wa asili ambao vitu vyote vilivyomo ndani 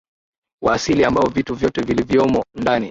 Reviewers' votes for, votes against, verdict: 1, 2, rejected